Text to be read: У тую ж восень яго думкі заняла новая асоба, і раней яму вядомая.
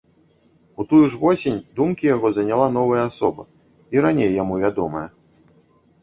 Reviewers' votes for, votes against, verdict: 1, 2, rejected